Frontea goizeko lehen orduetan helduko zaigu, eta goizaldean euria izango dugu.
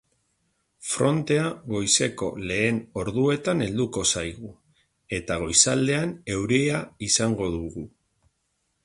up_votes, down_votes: 2, 0